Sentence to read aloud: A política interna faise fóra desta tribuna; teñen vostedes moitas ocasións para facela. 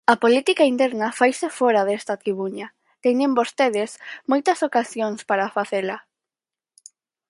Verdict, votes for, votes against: rejected, 0, 4